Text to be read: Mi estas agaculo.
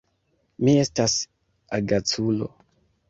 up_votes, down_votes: 2, 1